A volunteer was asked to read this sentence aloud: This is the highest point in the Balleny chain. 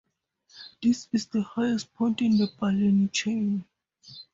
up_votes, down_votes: 4, 0